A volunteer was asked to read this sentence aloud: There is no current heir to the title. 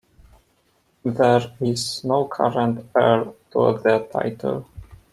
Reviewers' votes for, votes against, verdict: 2, 1, accepted